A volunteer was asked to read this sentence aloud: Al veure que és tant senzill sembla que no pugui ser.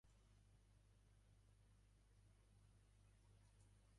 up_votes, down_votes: 1, 2